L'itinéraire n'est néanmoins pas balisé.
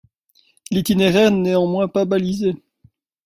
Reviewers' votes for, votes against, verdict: 0, 2, rejected